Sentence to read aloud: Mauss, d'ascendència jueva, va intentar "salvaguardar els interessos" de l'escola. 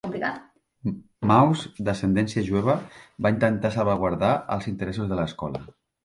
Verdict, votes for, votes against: accepted, 2, 1